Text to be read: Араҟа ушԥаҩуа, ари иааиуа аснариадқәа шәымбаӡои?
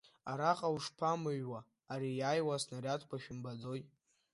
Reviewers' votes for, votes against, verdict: 0, 2, rejected